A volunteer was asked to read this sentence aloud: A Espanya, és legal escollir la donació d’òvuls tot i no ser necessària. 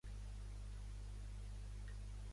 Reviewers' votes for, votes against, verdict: 0, 2, rejected